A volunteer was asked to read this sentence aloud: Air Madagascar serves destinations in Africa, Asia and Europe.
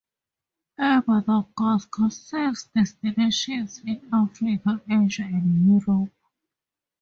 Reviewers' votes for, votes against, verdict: 0, 2, rejected